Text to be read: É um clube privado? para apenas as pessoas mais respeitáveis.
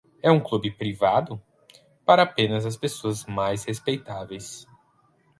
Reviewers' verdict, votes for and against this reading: accepted, 4, 0